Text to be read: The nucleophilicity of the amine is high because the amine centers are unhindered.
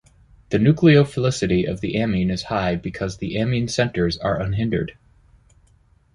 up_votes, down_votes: 2, 0